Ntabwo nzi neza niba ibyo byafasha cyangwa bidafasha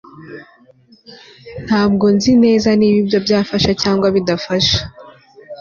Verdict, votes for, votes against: accepted, 2, 0